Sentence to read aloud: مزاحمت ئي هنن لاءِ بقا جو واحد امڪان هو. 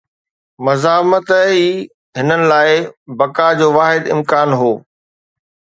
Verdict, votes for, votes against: accepted, 2, 0